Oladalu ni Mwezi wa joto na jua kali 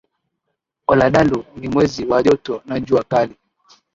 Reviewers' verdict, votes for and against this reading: rejected, 2, 2